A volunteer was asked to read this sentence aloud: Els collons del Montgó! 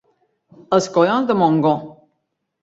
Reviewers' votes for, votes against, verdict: 1, 2, rejected